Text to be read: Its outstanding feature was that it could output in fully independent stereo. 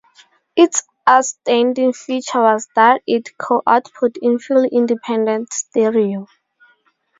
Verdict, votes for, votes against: accepted, 2, 0